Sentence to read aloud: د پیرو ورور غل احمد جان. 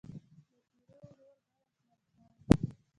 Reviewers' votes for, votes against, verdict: 1, 2, rejected